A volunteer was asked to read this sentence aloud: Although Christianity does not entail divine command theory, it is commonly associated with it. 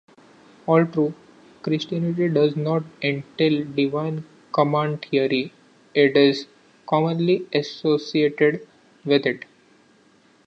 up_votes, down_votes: 2, 1